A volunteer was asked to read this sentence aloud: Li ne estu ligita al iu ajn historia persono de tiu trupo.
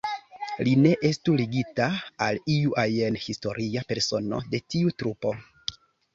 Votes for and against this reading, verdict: 1, 2, rejected